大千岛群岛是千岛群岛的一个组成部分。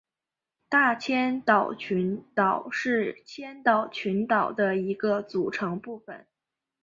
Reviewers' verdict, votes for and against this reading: accepted, 4, 1